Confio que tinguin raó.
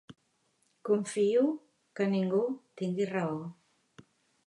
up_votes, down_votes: 0, 2